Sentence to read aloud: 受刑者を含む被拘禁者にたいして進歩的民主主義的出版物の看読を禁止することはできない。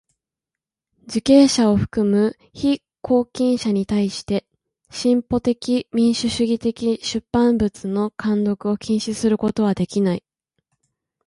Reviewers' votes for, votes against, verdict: 2, 0, accepted